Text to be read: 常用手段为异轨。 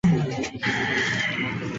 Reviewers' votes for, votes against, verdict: 1, 3, rejected